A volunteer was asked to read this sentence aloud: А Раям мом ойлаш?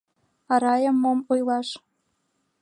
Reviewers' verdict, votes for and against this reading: accepted, 2, 0